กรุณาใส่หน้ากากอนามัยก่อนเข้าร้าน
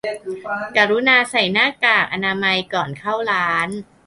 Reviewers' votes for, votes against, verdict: 1, 2, rejected